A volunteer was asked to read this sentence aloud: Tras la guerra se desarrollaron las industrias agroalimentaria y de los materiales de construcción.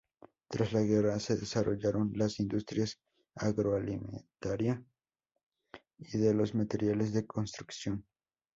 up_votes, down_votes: 2, 0